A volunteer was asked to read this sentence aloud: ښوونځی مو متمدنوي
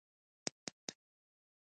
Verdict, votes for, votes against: accepted, 2, 0